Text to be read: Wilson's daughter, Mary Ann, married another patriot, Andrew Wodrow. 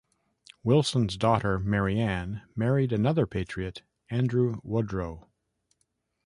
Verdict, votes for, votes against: accepted, 2, 0